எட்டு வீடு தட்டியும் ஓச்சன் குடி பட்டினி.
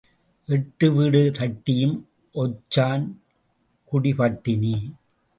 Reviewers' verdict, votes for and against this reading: rejected, 0, 2